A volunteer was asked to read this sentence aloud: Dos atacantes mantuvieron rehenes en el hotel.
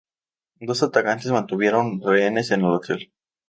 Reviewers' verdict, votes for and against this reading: accepted, 2, 0